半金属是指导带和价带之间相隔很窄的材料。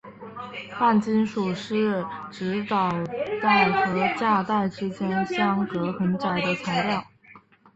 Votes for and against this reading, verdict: 5, 0, accepted